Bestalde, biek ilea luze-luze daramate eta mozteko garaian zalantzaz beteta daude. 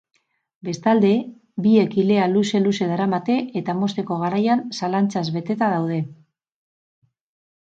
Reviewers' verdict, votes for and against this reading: accepted, 4, 0